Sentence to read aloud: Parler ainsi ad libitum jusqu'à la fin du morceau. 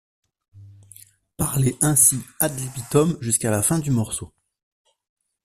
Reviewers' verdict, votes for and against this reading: rejected, 1, 2